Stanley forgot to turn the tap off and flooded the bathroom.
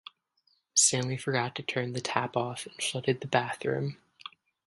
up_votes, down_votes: 2, 0